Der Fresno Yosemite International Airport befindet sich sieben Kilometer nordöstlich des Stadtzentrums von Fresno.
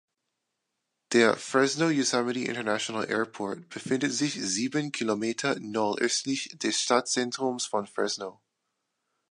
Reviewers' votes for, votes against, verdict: 2, 0, accepted